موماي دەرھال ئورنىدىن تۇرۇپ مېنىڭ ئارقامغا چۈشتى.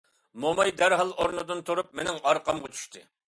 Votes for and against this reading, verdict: 2, 0, accepted